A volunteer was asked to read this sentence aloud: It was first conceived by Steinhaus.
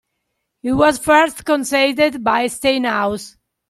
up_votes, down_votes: 2, 1